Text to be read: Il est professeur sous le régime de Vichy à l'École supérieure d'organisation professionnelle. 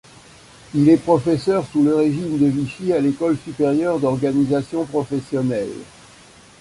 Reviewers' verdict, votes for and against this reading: accepted, 2, 0